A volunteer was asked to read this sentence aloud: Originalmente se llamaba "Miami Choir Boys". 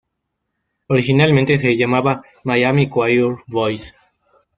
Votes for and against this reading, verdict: 2, 0, accepted